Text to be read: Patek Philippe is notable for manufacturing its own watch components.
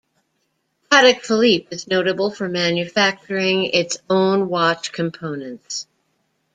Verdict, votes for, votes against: accepted, 2, 0